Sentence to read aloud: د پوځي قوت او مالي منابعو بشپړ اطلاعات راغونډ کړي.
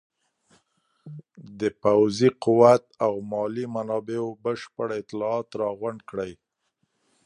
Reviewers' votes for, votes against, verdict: 1, 2, rejected